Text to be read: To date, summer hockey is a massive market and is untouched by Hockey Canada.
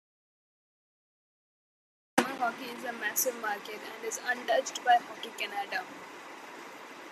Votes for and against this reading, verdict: 1, 2, rejected